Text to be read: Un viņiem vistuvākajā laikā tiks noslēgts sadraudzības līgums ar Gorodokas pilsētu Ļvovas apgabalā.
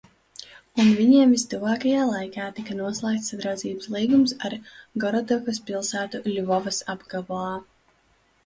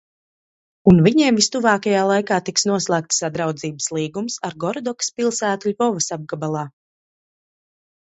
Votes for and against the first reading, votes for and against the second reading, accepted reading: 0, 2, 2, 0, second